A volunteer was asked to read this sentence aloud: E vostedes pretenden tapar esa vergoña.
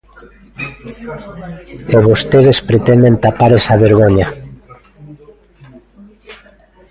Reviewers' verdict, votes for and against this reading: rejected, 1, 2